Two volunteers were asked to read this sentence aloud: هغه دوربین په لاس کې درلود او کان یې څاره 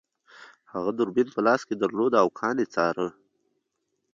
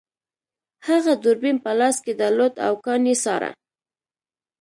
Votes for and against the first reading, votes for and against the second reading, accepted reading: 1, 2, 2, 0, second